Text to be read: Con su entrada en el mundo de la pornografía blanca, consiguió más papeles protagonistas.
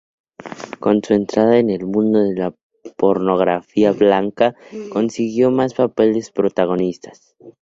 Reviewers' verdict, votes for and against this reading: accepted, 2, 0